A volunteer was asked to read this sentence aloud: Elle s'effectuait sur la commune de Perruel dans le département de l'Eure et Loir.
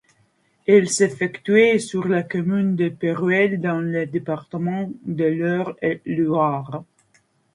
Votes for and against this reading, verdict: 2, 0, accepted